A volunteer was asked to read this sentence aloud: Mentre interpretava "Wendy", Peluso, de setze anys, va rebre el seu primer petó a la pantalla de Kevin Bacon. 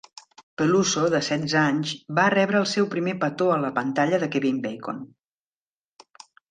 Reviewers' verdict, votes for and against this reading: rejected, 0, 2